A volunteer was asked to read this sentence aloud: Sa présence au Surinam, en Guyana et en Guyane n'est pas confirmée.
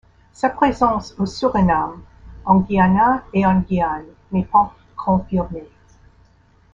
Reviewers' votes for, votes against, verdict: 2, 0, accepted